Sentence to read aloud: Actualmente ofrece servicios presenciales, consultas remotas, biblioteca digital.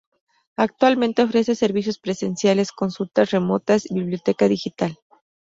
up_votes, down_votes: 2, 0